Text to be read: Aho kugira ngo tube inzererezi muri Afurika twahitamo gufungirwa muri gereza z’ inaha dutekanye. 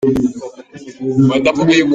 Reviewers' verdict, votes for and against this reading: rejected, 0, 2